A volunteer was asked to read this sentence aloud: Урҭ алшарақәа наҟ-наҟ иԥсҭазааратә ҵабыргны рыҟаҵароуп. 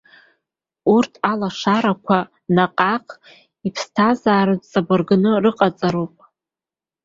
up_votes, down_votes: 2, 3